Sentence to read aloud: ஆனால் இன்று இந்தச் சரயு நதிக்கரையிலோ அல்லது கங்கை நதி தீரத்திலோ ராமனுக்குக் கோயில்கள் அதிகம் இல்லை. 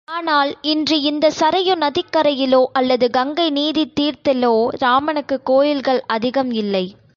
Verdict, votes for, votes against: rejected, 0, 2